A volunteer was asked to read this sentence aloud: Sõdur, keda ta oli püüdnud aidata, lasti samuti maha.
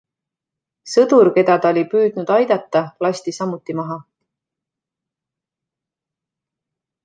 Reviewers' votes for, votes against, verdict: 2, 0, accepted